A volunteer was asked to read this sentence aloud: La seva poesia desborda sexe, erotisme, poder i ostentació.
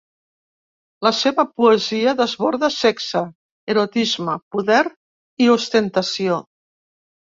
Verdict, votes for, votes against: accepted, 2, 0